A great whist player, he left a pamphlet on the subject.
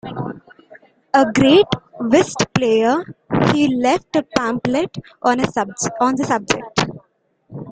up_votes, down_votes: 2, 1